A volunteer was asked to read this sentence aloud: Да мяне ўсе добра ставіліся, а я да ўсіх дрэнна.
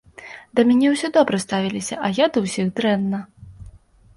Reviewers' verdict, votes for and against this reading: accepted, 2, 0